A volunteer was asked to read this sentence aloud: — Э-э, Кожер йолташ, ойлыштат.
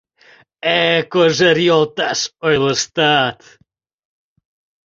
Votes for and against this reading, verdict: 2, 0, accepted